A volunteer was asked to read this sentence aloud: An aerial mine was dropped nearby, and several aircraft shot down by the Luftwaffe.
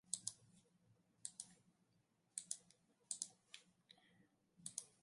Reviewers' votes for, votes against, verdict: 0, 2, rejected